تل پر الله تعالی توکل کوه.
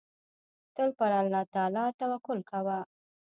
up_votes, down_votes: 1, 2